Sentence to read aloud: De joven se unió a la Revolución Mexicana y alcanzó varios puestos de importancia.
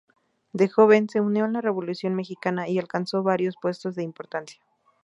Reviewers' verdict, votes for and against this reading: accepted, 4, 0